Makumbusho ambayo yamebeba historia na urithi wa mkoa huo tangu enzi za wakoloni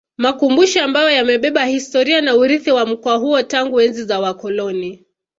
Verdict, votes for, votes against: accepted, 2, 0